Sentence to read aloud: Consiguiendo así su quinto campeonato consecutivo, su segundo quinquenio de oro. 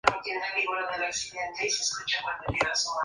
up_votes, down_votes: 0, 4